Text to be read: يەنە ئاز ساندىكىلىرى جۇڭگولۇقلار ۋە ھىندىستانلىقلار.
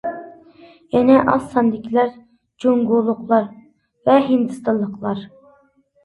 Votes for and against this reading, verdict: 0, 2, rejected